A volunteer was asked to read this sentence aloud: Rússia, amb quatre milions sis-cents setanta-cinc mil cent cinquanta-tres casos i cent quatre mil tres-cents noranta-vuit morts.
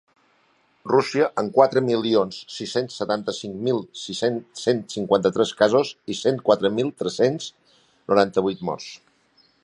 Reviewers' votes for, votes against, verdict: 2, 5, rejected